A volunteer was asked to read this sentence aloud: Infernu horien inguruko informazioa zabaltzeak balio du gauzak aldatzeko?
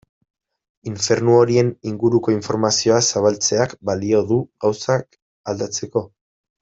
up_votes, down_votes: 0, 2